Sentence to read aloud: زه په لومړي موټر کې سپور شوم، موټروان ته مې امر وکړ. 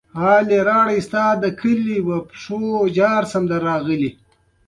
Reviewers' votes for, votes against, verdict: 0, 2, rejected